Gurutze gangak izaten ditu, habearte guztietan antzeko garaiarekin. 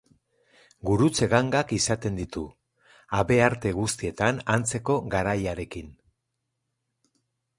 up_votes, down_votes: 4, 0